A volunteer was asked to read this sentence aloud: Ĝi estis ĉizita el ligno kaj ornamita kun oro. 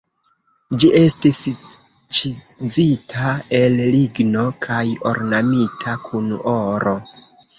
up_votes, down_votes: 0, 2